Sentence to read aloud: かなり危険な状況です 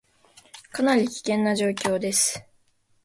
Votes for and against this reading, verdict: 2, 0, accepted